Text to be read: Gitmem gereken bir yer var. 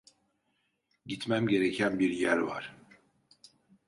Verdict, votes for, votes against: accepted, 2, 0